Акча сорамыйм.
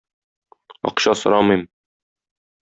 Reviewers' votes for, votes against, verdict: 2, 0, accepted